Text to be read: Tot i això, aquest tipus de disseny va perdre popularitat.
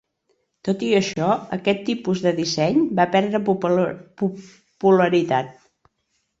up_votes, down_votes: 0, 2